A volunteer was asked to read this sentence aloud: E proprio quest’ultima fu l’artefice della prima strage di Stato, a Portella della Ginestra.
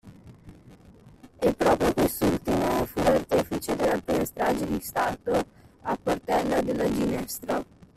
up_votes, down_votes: 1, 2